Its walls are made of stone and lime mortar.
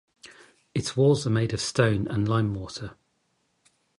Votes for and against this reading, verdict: 2, 0, accepted